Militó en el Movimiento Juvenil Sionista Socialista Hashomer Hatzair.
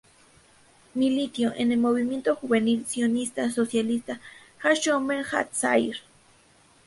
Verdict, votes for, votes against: rejected, 0, 2